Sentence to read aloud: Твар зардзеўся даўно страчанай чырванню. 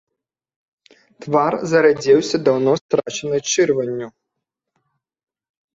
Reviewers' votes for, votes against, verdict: 0, 2, rejected